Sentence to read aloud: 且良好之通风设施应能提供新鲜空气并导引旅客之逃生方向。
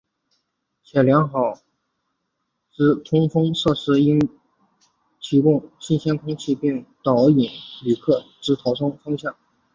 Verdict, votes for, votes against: accepted, 3, 0